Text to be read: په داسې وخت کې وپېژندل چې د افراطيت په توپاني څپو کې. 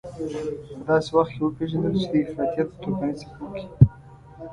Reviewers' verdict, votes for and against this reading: rejected, 0, 2